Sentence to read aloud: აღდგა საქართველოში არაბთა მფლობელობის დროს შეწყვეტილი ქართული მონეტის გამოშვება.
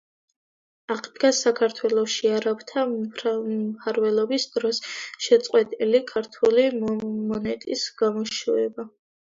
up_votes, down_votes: 0, 2